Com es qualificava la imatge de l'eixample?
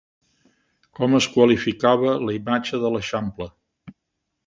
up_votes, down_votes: 2, 0